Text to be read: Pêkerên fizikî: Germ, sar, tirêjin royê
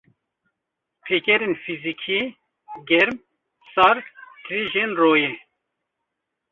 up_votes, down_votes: 2, 0